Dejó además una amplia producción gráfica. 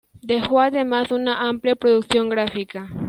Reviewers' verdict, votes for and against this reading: accepted, 2, 0